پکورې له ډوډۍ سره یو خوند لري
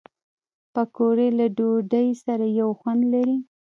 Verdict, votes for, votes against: rejected, 1, 2